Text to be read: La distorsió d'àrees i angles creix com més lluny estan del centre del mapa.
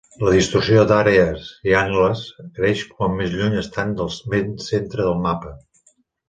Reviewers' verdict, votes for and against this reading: rejected, 1, 2